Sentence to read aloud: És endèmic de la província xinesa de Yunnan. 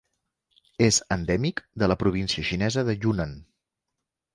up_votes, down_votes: 3, 0